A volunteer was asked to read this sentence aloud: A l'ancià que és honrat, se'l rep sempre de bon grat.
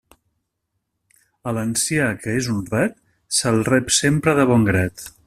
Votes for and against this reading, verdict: 5, 0, accepted